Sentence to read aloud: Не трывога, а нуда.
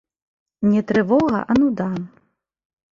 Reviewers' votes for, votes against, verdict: 4, 1, accepted